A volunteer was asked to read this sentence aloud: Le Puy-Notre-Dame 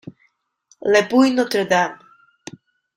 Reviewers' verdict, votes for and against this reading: rejected, 1, 2